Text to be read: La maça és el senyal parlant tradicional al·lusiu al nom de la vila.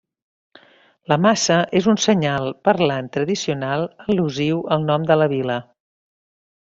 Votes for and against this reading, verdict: 0, 3, rejected